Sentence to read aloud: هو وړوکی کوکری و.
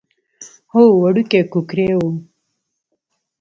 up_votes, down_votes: 0, 2